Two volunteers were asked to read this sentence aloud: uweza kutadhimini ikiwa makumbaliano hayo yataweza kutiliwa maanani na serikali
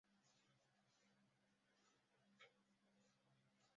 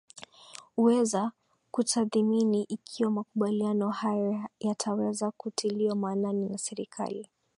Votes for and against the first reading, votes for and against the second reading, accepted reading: 0, 2, 2, 0, second